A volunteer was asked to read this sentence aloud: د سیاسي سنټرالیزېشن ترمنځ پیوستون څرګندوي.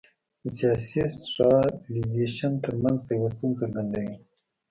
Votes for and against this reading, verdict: 1, 2, rejected